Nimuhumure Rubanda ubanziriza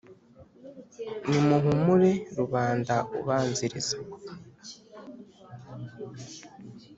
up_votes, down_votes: 5, 0